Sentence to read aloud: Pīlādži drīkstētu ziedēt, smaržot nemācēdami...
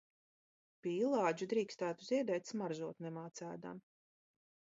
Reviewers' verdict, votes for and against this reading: rejected, 0, 2